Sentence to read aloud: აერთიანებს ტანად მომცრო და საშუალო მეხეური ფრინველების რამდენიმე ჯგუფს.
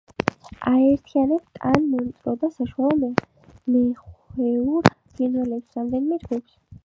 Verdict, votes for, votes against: rejected, 1, 2